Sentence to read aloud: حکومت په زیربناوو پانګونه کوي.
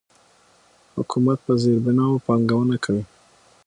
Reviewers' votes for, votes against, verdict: 6, 0, accepted